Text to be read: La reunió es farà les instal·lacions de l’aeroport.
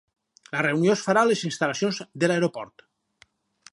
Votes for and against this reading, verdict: 2, 2, rejected